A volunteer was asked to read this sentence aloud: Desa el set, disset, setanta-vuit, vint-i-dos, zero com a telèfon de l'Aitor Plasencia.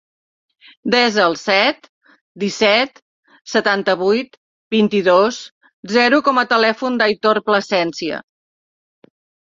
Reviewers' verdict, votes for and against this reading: rejected, 1, 2